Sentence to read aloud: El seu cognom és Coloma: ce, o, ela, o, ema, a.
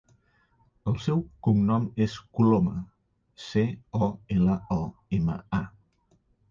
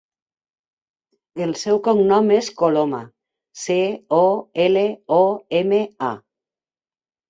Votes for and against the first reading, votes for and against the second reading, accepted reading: 3, 1, 1, 2, first